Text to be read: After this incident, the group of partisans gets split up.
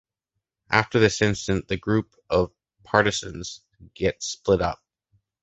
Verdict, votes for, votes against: accepted, 2, 0